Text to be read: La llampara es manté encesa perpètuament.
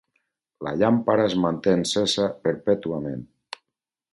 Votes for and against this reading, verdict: 4, 0, accepted